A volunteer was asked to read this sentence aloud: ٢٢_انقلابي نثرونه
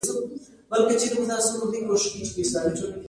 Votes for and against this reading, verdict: 0, 2, rejected